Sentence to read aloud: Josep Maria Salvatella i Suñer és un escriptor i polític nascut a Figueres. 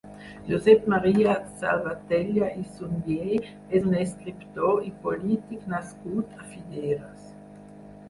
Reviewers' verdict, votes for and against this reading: rejected, 0, 4